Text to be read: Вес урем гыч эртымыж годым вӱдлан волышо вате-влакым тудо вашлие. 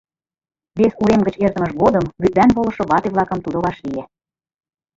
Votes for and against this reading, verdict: 0, 2, rejected